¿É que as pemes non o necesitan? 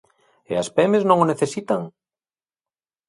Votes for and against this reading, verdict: 0, 2, rejected